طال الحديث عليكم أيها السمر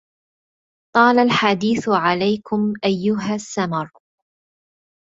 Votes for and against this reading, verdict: 0, 2, rejected